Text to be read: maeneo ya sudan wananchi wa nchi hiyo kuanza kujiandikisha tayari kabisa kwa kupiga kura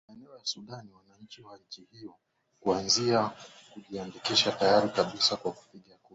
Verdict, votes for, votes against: rejected, 0, 2